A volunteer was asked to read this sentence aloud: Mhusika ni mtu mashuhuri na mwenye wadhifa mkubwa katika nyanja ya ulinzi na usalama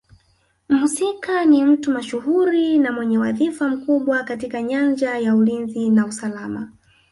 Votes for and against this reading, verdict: 0, 2, rejected